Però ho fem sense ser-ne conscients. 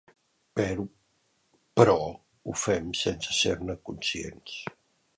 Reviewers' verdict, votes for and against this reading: rejected, 1, 2